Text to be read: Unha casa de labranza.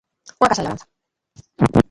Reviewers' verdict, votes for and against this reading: rejected, 0, 2